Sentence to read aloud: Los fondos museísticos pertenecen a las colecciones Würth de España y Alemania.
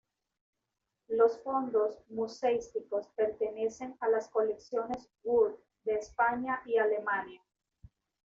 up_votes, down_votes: 1, 2